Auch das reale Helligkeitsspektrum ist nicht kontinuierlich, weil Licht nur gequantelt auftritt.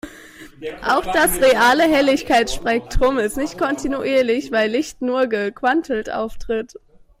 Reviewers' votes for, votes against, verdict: 1, 2, rejected